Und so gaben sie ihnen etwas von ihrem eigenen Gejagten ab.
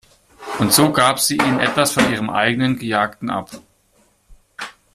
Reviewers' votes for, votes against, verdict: 1, 2, rejected